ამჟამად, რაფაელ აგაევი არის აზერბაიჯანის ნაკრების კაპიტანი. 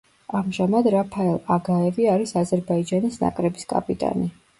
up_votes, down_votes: 2, 0